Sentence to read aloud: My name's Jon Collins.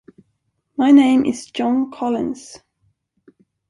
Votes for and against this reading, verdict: 0, 2, rejected